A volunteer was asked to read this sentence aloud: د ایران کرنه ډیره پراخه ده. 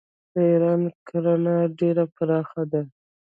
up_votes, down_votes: 1, 2